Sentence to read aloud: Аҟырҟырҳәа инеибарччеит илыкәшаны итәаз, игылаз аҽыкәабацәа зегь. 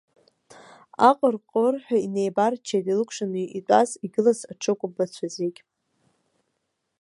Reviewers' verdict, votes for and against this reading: rejected, 1, 2